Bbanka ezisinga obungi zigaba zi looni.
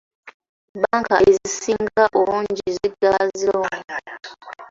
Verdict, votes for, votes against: rejected, 0, 2